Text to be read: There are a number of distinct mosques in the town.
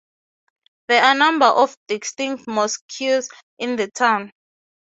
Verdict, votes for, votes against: rejected, 3, 3